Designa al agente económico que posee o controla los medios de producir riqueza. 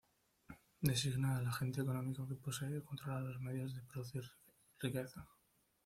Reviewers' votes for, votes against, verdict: 1, 2, rejected